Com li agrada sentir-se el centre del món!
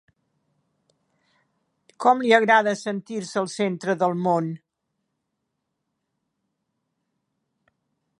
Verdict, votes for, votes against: accepted, 2, 0